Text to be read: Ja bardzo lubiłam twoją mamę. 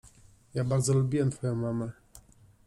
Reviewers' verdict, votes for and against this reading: rejected, 1, 2